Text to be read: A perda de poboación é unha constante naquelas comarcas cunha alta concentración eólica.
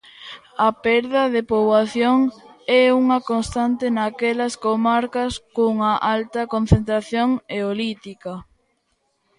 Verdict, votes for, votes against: rejected, 0, 2